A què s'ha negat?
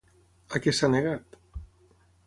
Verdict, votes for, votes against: accepted, 3, 0